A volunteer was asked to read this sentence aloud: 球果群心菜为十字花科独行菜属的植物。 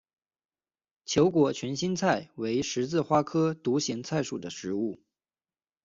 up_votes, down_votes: 2, 0